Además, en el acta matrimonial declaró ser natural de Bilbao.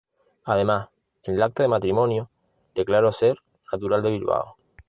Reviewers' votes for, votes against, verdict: 0, 2, rejected